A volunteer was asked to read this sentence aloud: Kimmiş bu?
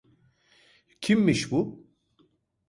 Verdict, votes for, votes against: accepted, 2, 0